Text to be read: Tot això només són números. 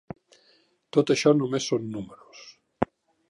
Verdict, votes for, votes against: accepted, 3, 0